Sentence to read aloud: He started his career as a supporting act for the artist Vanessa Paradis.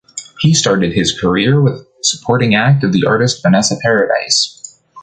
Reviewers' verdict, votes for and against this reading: rejected, 0, 2